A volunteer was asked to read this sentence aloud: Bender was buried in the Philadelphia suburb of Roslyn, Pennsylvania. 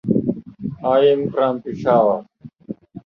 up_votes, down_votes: 0, 2